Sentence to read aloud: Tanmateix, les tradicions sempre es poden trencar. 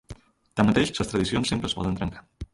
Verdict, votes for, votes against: accepted, 2, 0